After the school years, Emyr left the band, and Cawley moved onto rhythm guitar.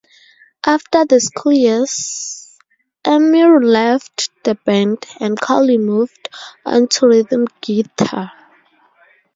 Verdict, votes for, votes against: rejected, 0, 2